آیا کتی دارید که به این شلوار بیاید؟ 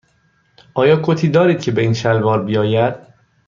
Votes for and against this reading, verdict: 2, 0, accepted